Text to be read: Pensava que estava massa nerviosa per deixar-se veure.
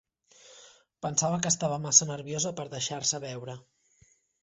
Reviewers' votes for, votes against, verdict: 3, 0, accepted